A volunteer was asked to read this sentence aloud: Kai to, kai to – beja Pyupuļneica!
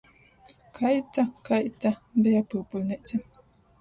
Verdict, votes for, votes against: rejected, 0, 2